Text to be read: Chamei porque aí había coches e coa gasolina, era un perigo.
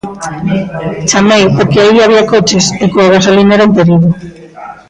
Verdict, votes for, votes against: accepted, 2, 0